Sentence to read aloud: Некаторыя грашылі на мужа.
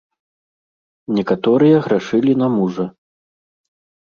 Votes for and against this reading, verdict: 2, 0, accepted